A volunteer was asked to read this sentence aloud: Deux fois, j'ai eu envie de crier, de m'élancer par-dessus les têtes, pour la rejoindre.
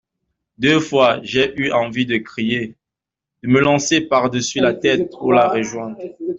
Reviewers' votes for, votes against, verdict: 1, 2, rejected